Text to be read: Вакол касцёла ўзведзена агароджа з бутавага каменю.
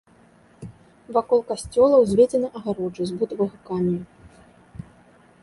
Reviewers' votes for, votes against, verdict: 2, 0, accepted